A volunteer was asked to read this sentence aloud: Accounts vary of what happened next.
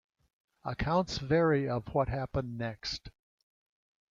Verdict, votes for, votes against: accepted, 2, 0